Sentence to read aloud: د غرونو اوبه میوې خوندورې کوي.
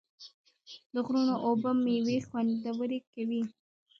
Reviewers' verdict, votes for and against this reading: rejected, 1, 2